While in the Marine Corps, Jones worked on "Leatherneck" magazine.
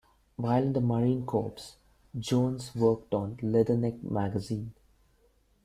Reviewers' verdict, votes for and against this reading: rejected, 1, 2